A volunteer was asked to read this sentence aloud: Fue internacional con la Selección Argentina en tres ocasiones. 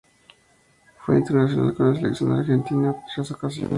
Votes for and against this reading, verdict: 0, 4, rejected